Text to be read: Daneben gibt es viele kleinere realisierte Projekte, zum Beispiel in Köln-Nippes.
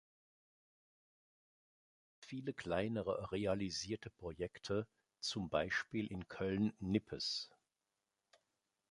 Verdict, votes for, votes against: rejected, 0, 2